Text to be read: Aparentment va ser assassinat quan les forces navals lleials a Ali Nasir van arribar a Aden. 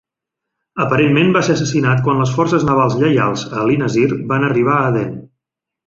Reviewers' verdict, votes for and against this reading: rejected, 1, 2